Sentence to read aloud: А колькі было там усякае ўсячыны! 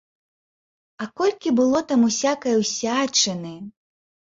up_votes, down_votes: 3, 0